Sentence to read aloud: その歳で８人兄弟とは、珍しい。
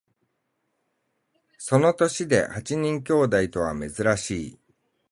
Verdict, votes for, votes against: rejected, 0, 2